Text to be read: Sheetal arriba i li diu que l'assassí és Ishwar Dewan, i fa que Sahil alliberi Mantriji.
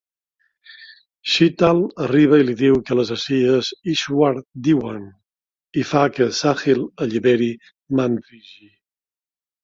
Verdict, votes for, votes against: accepted, 5, 0